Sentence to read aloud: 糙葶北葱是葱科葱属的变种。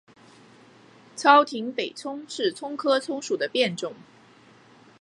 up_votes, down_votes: 6, 0